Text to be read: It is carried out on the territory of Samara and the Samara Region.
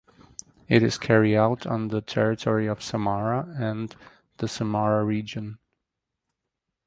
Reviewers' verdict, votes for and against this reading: rejected, 0, 2